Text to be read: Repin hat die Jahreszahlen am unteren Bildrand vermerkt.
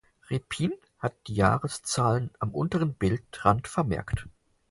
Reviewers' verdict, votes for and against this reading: accepted, 4, 0